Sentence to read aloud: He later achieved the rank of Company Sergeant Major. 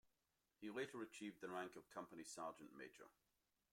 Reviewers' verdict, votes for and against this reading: accepted, 2, 0